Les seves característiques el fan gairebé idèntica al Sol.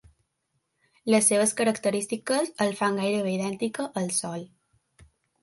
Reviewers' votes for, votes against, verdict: 2, 0, accepted